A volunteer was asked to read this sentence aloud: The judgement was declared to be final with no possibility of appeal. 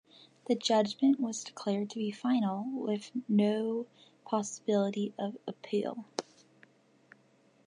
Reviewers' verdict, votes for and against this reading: accepted, 2, 0